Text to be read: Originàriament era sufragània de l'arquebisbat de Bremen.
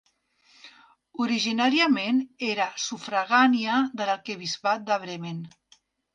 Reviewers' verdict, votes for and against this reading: accepted, 2, 0